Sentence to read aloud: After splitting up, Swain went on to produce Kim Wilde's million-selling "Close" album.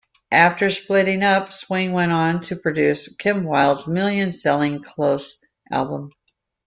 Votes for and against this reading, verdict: 2, 0, accepted